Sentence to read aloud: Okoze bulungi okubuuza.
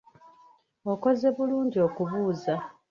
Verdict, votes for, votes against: rejected, 1, 2